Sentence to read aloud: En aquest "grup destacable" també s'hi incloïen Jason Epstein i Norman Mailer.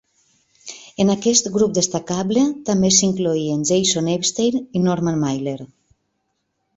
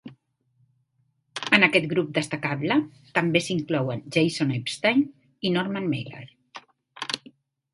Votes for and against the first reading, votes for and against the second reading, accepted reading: 2, 0, 1, 2, first